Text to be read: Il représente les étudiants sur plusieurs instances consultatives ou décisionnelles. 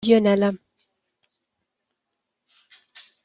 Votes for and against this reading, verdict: 0, 2, rejected